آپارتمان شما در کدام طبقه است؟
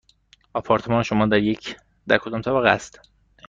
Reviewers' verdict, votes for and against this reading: rejected, 1, 2